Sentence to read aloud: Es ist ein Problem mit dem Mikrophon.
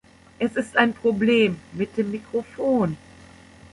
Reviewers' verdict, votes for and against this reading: accepted, 2, 0